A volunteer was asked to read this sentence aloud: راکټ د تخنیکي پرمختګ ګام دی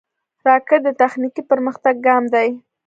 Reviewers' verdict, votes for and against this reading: accepted, 2, 0